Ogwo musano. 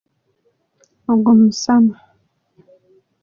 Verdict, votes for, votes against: accepted, 2, 0